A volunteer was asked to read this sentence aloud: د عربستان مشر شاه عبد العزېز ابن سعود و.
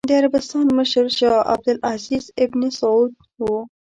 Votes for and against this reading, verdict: 2, 0, accepted